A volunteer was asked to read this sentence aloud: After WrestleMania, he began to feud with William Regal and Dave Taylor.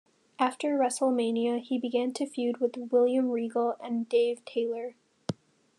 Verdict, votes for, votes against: accepted, 2, 0